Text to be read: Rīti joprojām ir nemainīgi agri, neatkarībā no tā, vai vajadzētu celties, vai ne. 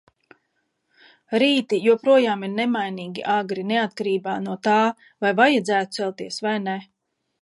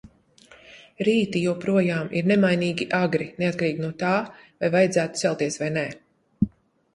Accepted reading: first